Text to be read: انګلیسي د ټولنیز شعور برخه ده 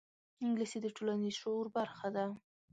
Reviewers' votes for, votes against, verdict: 2, 0, accepted